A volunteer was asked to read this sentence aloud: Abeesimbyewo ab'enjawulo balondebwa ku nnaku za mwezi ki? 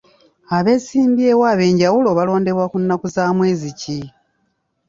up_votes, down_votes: 2, 0